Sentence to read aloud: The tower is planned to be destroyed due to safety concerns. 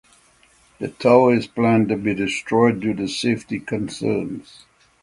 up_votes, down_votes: 6, 0